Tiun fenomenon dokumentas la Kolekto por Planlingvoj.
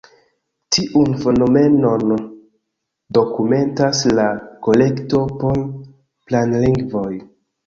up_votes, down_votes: 2, 0